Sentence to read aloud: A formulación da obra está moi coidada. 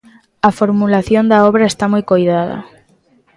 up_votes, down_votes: 2, 0